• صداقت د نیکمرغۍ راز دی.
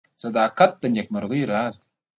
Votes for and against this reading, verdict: 2, 0, accepted